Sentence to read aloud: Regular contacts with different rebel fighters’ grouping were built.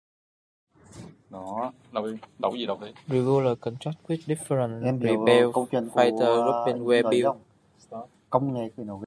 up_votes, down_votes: 0, 2